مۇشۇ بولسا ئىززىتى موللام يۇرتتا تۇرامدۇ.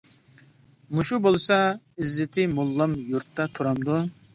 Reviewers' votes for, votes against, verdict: 2, 0, accepted